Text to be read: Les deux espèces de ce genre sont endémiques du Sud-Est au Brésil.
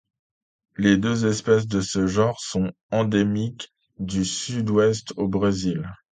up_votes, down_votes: 1, 2